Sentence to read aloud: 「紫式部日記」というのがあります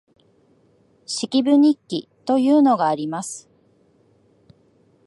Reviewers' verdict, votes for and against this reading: rejected, 0, 2